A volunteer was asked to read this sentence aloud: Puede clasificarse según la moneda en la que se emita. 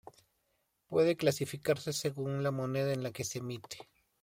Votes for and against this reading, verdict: 1, 2, rejected